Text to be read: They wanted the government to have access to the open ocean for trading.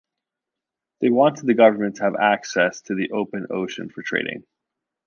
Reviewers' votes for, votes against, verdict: 2, 0, accepted